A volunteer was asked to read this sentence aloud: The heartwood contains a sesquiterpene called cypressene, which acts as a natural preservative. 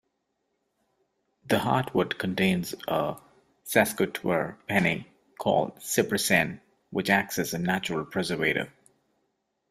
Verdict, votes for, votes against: rejected, 0, 2